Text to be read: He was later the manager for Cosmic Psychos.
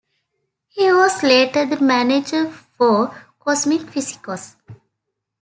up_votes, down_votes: 1, 2